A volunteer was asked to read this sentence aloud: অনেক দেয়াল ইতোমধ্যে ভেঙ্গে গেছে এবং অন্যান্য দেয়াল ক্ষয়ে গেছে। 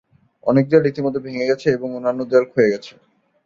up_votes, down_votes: 1, 2